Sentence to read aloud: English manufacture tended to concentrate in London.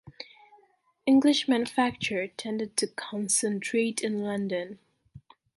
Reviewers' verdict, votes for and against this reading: accepted, 2, 0